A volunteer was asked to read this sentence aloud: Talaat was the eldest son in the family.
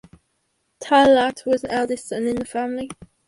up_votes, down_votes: 0, 2